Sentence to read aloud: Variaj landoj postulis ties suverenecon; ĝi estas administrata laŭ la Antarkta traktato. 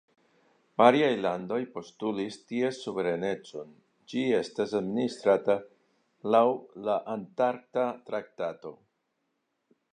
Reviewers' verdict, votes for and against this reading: rejected, 0, 2